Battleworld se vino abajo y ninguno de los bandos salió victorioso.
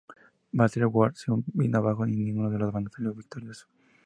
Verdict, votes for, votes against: accepted, 2, 0